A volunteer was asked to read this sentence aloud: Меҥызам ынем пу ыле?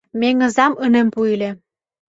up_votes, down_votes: 2, 0